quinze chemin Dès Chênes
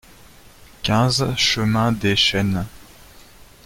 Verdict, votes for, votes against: accepted, 2, 0